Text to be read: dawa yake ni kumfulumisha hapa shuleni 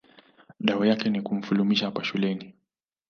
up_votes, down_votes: 2, 0